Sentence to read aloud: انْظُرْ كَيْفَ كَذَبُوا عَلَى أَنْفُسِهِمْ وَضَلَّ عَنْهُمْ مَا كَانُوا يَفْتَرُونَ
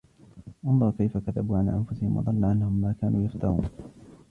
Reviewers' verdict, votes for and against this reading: rejected, 1, 2